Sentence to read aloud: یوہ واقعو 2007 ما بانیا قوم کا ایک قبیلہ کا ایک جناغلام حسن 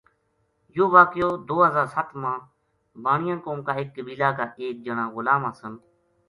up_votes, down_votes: 0, 2